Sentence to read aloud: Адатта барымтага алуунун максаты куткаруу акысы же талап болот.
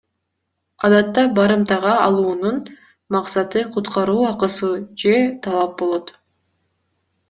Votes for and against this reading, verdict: 2, 0, accepted